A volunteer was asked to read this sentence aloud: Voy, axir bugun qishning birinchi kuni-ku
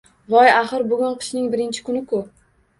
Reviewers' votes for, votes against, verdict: 1, 2, rejected